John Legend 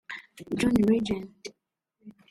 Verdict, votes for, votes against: rejected, 0, 2